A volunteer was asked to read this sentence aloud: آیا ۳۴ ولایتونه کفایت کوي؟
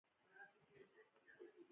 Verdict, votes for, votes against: rejected, 0, 2